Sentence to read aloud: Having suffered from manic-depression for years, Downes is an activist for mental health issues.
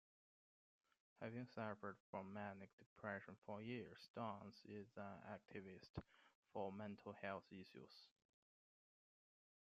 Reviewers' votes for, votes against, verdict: 0, 2, rejected